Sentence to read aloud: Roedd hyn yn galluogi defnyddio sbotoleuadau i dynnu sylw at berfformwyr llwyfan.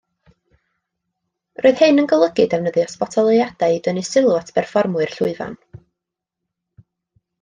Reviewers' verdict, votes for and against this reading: rejected, 0, 2